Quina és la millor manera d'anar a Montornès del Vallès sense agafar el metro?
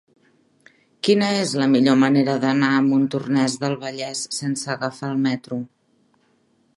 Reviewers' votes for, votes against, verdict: 3, 0, accepted